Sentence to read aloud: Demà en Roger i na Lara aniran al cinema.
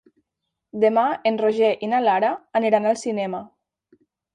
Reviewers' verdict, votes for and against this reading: accepted, 3, 0